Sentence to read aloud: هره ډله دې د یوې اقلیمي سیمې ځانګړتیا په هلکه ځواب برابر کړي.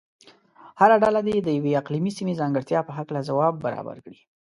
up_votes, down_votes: 2, 0